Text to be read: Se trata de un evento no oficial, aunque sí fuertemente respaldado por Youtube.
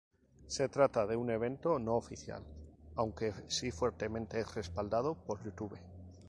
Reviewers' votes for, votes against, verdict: 2, 0, accepted